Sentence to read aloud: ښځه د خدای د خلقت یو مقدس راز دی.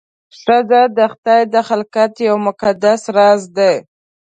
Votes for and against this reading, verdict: 2, 0, accepted